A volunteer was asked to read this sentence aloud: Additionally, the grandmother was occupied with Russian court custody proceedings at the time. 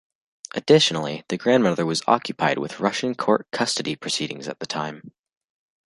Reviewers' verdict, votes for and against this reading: accepted, 2, 0